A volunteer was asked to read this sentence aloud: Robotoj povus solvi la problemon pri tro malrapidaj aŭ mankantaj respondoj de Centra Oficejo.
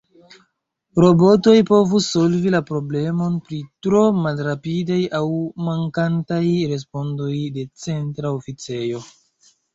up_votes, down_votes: 0, 3